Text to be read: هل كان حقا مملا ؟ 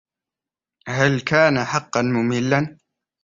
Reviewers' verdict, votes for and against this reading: rejected, 0, 2